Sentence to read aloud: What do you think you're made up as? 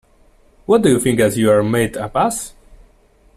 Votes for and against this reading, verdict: 0, 2, rejected